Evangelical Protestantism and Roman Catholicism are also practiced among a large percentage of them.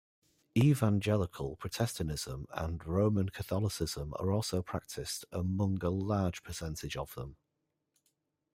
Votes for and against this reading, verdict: 0, 2, rejected